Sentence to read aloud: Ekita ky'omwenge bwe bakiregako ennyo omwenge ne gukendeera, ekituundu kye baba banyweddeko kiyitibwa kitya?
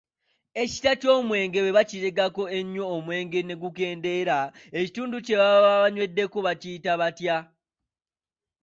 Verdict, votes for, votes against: rejected, 1, 2